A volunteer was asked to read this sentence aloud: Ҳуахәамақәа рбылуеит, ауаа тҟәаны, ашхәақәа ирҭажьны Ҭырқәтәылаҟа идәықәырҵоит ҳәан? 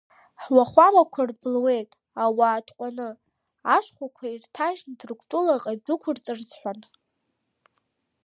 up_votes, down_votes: 0, 2